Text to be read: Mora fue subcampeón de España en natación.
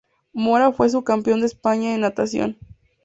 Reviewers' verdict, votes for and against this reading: accepted, 2, 0